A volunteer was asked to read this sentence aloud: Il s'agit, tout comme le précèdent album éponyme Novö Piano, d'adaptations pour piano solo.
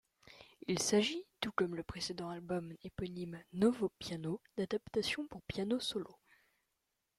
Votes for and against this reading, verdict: 2, 0, accepted